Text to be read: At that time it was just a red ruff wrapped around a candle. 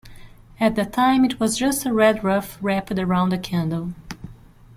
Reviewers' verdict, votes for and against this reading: accepted, 2, 0